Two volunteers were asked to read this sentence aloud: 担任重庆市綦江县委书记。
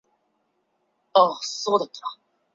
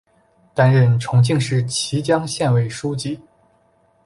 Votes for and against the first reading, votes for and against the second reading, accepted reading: 1, 3, 2, 0, second